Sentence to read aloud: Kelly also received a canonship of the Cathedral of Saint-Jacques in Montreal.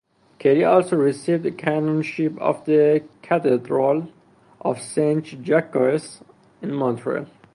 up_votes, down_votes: 2, 0